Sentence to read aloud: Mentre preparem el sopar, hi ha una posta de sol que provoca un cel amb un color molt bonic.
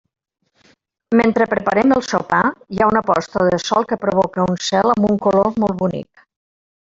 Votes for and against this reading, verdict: 0, 2, rejected